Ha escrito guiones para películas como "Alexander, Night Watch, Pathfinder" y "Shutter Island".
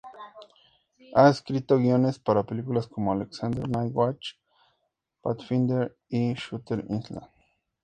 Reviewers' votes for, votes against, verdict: 2, 0, accepted